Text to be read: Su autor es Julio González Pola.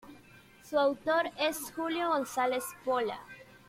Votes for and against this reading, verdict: 2, 0, accepted